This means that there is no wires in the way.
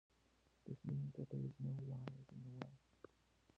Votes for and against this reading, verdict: 0, 2, rejected